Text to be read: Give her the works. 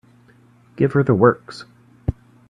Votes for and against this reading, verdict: 2, 0, accepted